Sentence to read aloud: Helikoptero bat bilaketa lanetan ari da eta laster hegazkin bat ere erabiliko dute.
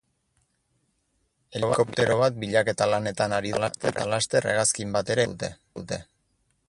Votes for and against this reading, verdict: 0, 6, rejected